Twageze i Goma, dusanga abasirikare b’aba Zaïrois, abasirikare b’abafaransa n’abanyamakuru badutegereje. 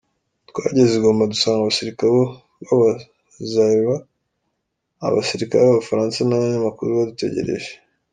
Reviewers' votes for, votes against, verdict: 2, 0, accepted